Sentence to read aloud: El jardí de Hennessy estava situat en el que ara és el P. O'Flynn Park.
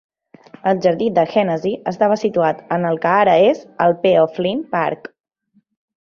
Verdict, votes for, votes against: accepted, 2, 1